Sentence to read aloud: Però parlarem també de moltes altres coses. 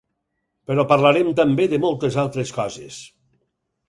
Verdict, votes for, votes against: accepted, 6, 0